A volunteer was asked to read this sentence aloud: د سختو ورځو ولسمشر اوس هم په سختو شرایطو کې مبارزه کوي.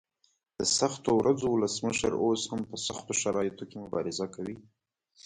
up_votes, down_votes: 2, 0